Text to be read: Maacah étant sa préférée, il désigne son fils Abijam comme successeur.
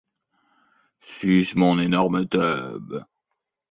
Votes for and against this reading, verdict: 1, 2, rejected